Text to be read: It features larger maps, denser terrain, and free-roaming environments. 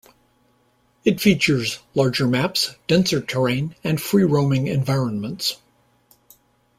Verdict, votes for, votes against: accepted, 2, 0